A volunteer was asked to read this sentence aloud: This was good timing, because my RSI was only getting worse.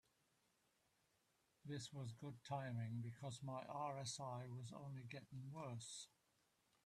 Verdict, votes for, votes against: accepted, 2, 0